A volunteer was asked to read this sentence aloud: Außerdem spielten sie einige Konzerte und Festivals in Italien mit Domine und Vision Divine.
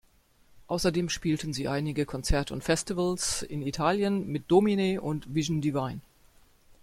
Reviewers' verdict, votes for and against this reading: accepted, 3, 0